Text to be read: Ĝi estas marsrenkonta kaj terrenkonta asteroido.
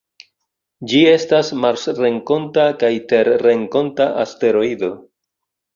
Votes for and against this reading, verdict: 2, 0, accepted